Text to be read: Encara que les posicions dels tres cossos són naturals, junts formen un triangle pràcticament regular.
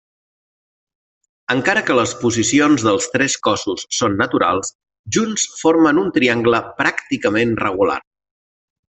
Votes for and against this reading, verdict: 3, 0, accepted